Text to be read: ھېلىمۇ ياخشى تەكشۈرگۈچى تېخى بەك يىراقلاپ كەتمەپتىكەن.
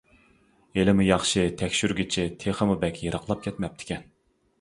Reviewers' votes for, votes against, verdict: 1, 2, rejected